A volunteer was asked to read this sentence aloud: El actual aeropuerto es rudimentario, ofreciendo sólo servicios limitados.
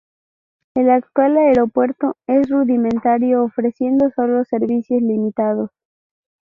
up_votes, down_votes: 6, 2